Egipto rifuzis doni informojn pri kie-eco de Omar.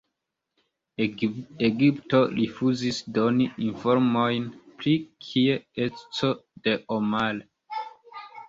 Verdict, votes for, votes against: accepted, 2, 0